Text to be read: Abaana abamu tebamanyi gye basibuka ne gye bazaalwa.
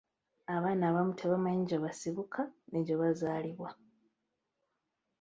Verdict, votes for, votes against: rejected, 0, 2